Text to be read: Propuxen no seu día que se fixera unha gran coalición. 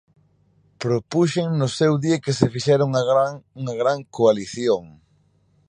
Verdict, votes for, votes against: rejected, 1, 2